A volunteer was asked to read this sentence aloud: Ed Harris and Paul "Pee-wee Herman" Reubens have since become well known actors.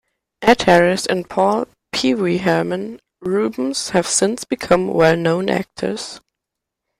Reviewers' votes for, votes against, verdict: 2, 0, accepted